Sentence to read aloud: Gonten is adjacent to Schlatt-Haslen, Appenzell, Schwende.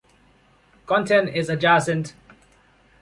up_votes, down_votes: 1, 2